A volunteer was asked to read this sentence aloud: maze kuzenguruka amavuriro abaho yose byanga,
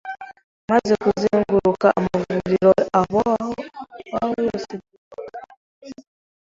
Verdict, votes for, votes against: rejected, 1, 2